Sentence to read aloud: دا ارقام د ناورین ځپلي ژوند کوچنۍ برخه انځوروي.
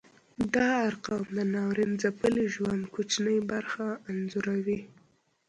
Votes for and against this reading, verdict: 2, 0, accepted